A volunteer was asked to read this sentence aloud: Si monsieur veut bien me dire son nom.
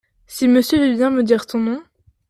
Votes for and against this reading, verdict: 1, 2, rejected